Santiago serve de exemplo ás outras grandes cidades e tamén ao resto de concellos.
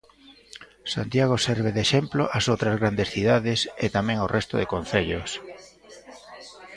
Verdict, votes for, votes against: rejected, 0, 2